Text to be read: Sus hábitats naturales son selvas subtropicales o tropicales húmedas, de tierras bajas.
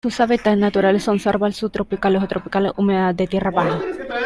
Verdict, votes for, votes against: rejected, 0, 2